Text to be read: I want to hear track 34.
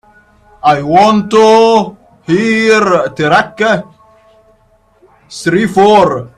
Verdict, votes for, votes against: rejected, 0, 2